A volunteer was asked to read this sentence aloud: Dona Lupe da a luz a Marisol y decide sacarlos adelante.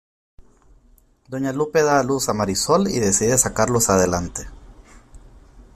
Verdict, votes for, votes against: rejected, 1, 2